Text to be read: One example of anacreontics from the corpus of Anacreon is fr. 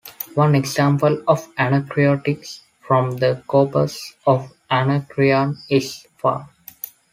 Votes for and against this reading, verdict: 2, 1, accepted